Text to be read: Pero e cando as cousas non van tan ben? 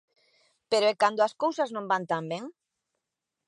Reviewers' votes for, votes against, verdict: 2, 0, accepted